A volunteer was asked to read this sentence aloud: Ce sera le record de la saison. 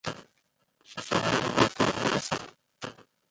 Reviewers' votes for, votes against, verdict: 0, 2, rejected